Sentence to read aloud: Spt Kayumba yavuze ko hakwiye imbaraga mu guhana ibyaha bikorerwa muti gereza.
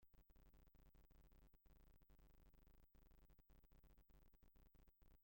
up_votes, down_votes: 0, 2